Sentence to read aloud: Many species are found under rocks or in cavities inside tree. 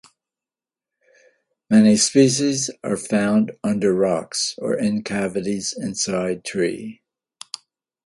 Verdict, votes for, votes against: accepted, 2, 0